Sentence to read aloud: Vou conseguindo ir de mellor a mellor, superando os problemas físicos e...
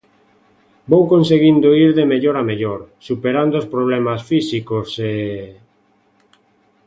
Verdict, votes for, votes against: accepted, 2, 0